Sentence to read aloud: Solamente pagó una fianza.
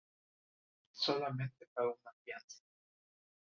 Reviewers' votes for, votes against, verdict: 0, 2, rejected